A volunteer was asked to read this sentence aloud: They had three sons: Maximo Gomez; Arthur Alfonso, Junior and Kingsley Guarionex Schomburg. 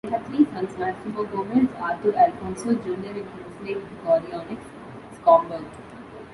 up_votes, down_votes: 0, 2